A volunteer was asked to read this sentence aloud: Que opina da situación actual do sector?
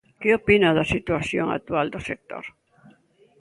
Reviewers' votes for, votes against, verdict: 2, 0, accepted